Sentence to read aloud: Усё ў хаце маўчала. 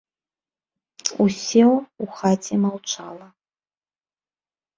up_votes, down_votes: 1, 2